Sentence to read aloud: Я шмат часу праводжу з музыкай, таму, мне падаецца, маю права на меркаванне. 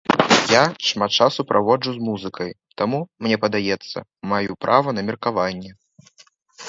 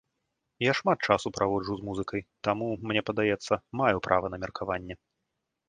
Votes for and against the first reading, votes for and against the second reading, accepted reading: 0, 2, 2, 0, second